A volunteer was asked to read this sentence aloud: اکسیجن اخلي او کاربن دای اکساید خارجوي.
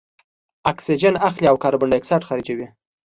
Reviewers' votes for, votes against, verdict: 2, 0, accepted